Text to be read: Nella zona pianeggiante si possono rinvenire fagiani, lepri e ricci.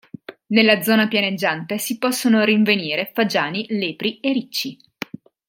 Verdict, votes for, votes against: accepted, 4, 0